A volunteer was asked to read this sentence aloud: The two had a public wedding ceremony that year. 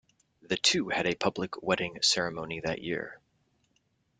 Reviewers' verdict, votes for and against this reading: accepted, 2, 0